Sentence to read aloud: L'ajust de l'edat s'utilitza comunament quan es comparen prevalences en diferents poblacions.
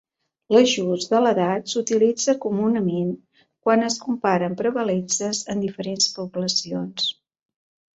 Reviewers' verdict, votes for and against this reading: accepted, 2, 0